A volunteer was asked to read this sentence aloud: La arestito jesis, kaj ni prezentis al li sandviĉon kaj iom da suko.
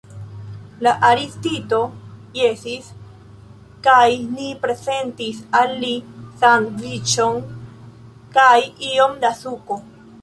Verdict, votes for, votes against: rejected, 0, 2